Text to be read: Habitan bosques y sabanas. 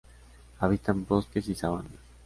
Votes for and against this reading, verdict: 2, 0, accepted